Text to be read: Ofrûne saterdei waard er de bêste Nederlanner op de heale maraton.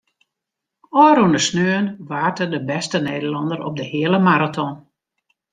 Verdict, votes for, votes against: rejected, 0, 2